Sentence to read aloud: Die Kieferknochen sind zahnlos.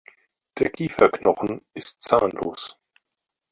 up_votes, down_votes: 2, 4